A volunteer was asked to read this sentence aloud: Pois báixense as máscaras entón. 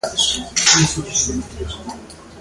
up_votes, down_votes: 0, 2